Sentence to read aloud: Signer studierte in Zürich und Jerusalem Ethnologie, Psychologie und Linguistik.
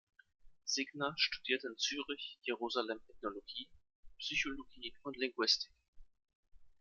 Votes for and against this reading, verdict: 0, 2, rejected